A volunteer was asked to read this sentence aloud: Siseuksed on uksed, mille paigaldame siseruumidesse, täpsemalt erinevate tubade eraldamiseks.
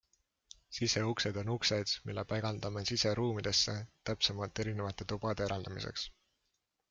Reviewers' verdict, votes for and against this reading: accepted, 2, 0